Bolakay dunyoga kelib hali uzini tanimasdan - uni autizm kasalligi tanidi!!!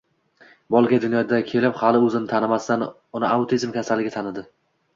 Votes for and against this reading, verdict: 1, 2, rejected